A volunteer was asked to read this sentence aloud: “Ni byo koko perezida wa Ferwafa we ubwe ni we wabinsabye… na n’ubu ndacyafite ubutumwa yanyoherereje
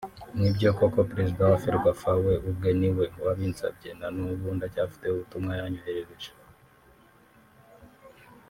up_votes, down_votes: 1, 2